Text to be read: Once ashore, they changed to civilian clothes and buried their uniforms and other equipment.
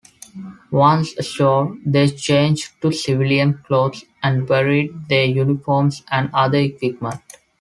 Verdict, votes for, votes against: accepted, 2, 1